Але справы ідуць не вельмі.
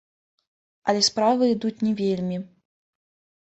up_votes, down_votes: 2, 0